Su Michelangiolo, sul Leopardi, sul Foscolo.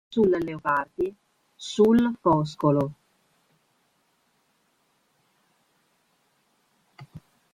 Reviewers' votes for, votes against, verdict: 0, 2, rejected